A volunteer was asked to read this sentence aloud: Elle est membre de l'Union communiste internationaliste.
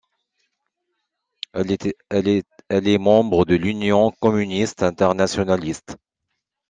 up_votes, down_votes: 0, 2